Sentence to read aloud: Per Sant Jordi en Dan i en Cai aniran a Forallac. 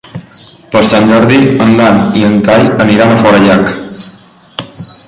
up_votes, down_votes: 3, 0